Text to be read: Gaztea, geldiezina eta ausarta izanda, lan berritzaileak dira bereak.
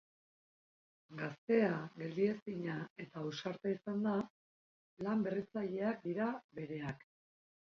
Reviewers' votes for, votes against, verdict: 2, 0, accepted